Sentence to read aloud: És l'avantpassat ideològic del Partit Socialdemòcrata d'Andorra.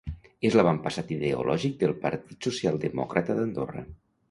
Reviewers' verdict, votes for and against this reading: accepted, 2, 0